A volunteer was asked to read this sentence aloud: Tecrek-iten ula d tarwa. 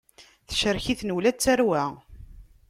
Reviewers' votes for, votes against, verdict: 2, 1, accepted